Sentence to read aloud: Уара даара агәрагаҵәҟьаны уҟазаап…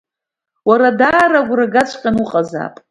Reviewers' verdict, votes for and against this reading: accepted, 2, 0